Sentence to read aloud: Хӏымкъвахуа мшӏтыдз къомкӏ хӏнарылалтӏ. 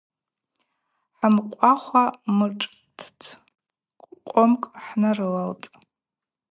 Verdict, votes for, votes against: accepted, 4, 0